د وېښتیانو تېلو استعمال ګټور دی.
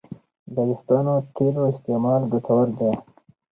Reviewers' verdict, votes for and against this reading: accepted, 4, 0